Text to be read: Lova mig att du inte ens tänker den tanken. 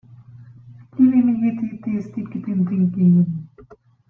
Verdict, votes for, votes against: rejected, 0, 2